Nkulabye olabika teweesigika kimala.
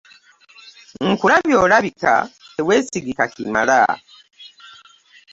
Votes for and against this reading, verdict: 2, 0, accepted